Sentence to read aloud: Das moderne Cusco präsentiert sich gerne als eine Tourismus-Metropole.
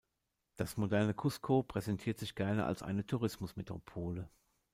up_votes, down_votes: 2, 0